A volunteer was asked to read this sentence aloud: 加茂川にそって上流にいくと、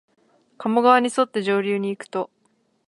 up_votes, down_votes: 2, 0